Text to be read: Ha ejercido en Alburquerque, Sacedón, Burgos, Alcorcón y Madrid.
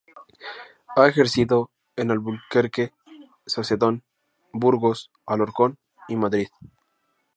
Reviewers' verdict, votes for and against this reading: rejected, 0, 2